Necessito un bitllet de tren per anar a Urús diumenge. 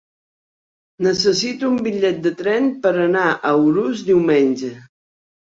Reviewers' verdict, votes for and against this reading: accepted, 2, 0